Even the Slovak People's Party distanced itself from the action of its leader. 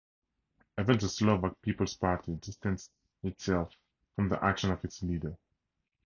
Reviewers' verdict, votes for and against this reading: accepted, 4, 0